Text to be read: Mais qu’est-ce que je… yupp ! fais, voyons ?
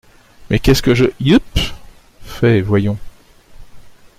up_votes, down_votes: 2, 0